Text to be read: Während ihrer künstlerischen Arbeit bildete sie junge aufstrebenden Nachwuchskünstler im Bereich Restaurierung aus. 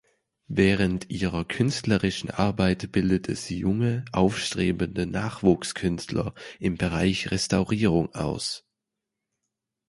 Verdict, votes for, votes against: rejected, 1, 2